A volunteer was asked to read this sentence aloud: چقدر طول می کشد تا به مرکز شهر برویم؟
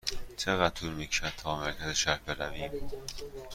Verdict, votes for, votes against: accepted, 2, 0